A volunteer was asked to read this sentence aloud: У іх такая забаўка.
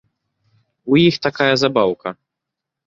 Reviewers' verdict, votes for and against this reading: accepted, 2, 1